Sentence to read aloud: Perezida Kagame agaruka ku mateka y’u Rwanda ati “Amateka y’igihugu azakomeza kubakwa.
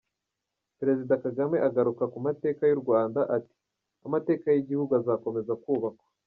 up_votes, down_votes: 2, 1